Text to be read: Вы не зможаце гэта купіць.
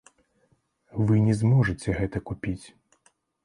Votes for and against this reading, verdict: 1, 2, rejected